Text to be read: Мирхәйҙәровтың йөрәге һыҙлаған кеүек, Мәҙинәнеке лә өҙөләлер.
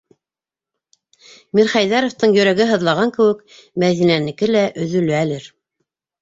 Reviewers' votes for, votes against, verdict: 2, 0, accepted